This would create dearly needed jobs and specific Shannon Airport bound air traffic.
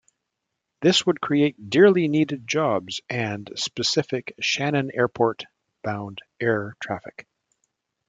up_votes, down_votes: 2, 0